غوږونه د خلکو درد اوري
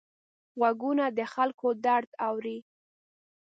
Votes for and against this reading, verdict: 2, 0, accepted